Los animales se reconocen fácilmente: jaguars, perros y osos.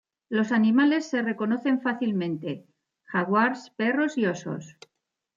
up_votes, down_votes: 2, 0